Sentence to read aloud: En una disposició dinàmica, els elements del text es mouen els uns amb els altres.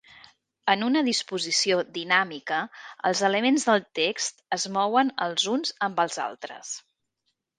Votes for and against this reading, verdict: 2, 0, accepted